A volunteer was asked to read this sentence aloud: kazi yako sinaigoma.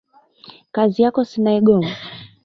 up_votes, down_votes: 1, 2